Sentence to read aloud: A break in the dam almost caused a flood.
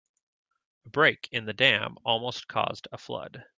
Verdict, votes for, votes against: rejected, 1, 2